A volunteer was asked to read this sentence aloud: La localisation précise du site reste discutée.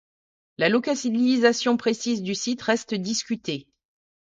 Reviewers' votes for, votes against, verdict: 0, 2, rejected